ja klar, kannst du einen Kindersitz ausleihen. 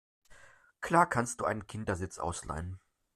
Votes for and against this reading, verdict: 0, 2, rejected